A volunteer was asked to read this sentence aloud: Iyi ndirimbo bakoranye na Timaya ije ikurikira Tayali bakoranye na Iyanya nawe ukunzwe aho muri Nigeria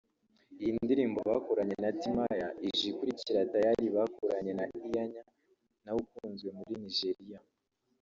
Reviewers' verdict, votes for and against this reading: rejected, 1, 2